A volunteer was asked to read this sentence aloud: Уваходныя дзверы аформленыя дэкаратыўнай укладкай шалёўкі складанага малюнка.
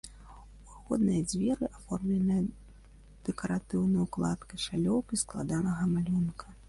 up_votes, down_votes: 0, 2